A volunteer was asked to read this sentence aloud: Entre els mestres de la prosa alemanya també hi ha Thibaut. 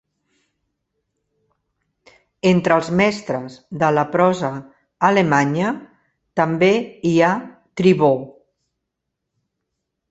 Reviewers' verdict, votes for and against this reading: rejected, 2, 3